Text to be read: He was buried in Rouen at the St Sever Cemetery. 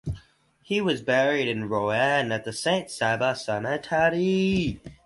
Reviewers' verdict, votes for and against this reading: rejected, 0, 2